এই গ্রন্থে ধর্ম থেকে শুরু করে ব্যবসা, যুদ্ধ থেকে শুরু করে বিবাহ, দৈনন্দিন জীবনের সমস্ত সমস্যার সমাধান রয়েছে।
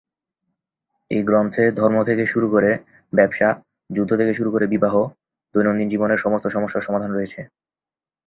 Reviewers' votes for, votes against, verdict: 2, 0, accepted